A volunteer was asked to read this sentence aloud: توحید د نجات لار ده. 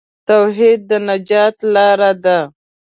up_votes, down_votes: 2, 0